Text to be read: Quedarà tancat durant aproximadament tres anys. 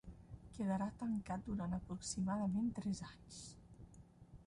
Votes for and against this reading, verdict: 1, 2, rejected